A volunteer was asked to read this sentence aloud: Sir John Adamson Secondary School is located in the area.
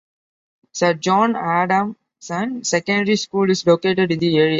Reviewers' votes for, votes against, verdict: 2, 1, accepted